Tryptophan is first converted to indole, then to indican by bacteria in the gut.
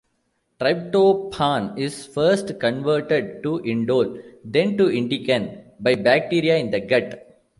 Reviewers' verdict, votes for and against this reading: accepted, 2, 0